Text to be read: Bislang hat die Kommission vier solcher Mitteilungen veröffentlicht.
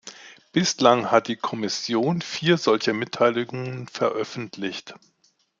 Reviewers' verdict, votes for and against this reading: accepted, 2, 0